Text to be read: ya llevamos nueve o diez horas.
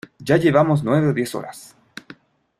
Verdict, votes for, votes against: accepted, 2, 0